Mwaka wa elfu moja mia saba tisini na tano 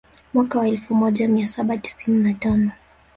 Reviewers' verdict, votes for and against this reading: rejected, 1, 2